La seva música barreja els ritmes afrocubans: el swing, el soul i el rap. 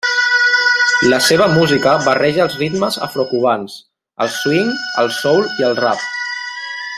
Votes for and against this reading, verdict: 0, 2, rejected